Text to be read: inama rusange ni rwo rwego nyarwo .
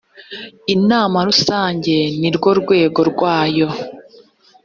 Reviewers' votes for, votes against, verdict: 1, 2, rejected